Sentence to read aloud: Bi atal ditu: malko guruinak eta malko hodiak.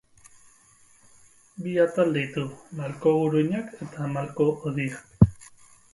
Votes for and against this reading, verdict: 0, 4, rejected